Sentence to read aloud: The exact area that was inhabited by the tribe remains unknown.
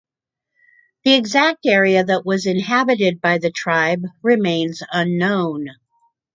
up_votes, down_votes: 2, 0